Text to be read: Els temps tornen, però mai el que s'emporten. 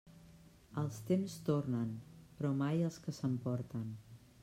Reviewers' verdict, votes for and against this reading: rejected, 0, 2